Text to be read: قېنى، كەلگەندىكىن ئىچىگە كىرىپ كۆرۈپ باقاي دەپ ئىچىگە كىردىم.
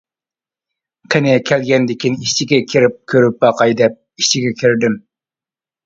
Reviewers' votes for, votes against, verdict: 2, 0, accepted